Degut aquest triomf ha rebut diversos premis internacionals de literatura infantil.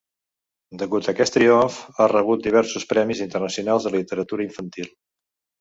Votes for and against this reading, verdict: 1, 2, rejected